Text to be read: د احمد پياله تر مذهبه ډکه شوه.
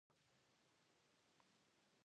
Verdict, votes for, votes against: rejected, 1, 2